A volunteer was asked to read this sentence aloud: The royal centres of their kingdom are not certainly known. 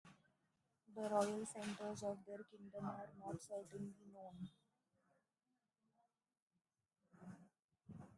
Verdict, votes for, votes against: rejected, 1, 2